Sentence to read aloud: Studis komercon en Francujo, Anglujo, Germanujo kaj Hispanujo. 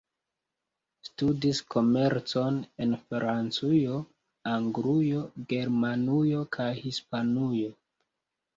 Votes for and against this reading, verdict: 2, 0, accepted